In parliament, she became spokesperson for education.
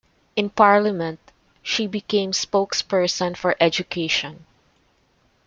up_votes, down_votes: 2, 0